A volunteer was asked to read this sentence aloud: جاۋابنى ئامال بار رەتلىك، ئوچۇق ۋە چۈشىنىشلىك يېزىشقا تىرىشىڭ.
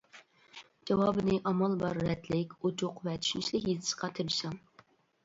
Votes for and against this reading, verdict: 1, 2, rejected